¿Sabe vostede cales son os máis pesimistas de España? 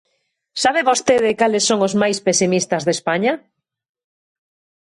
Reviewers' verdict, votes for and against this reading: accepted, 2, 0